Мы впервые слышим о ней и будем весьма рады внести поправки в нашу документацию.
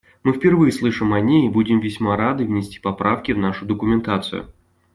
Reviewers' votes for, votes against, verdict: 2, 0, accepted